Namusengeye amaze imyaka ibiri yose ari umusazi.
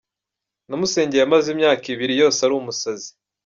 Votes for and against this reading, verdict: 2, 0, accepted